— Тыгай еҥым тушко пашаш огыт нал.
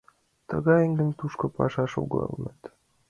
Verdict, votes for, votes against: rejected, 1, 2